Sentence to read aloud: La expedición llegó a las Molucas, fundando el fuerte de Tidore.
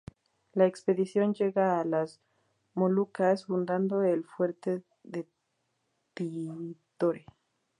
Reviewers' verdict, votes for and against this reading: rejected, 2, 2